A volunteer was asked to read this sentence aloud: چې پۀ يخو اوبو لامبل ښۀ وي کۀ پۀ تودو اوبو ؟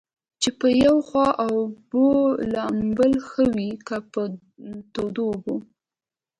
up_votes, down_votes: 1, 2